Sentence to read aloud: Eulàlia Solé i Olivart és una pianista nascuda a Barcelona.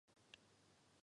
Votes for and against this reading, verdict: 0, 2, rejected